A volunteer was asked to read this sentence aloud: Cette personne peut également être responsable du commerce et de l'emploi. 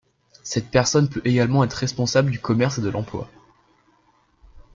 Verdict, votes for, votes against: accepted, 2, 0